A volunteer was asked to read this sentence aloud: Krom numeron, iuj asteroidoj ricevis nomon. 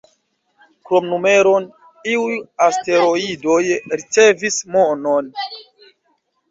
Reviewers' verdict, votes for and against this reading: accepted, 2, 1